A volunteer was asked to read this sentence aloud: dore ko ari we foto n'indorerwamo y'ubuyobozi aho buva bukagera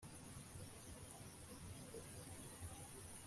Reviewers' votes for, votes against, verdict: 0, 2, rejected